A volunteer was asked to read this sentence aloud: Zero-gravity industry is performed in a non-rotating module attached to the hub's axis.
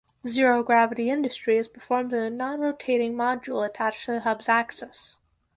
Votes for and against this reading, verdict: 4, 0, accepted